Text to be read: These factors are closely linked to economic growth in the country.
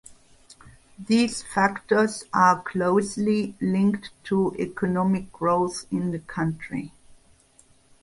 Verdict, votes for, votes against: accepted, 2, 0